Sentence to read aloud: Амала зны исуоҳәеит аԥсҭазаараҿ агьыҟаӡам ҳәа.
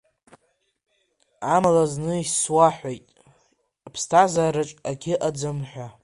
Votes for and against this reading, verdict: 0, 2, rejected